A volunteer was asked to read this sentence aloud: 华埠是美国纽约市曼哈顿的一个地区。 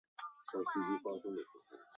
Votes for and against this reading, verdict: 1, 3, rejected